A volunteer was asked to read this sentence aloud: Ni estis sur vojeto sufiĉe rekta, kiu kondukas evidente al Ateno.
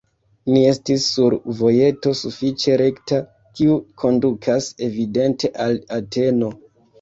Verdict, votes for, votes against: accepted, 2, 1